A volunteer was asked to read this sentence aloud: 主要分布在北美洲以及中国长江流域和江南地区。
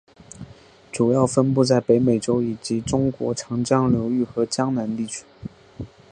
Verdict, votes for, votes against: accepted, 3, 0